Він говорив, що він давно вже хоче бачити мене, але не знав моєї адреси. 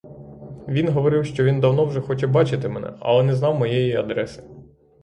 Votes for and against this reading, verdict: 3, 3, rejected